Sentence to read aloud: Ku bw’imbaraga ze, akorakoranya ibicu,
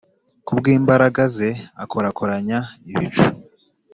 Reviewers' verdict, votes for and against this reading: accepted, 2, 0